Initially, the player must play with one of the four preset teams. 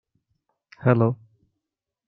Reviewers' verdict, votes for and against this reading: rejected, 0, 2